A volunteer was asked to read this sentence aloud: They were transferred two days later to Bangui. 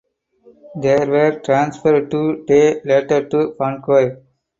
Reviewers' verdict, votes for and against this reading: rejected, 0, 4